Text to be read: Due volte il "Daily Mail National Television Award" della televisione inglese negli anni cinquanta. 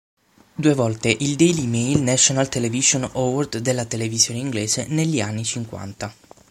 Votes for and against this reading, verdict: 3, 6, rejected